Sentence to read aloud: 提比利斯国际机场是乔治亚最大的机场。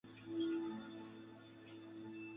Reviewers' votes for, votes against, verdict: 0, 5, rejected